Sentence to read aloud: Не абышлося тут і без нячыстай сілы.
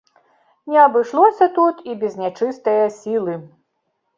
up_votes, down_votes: 1, 2